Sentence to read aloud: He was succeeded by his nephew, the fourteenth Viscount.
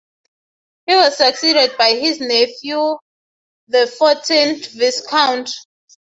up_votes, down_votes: 0, 3